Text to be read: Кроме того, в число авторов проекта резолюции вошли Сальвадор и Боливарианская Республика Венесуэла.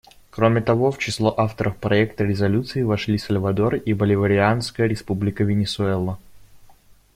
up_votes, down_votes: 2, 0